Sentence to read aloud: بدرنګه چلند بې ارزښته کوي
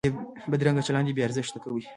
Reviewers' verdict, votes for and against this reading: rejected, 0, 2